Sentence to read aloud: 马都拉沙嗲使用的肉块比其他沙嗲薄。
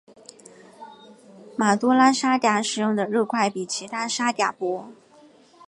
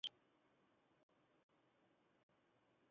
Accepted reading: first